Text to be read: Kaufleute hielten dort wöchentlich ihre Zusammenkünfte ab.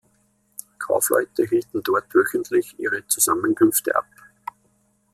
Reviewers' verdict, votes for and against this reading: accepted, 2, 1